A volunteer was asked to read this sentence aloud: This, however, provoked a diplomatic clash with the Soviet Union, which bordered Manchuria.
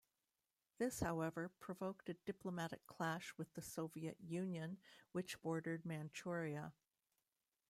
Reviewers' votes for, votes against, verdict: 2, 0, accepted